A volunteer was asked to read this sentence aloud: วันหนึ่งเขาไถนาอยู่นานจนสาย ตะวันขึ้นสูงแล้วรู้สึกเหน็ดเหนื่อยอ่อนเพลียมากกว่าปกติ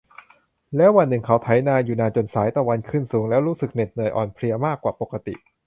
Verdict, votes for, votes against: rejected, 0, 4